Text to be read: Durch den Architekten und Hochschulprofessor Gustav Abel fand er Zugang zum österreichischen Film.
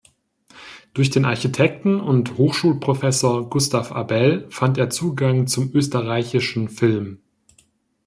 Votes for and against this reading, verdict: 2, 0, accepted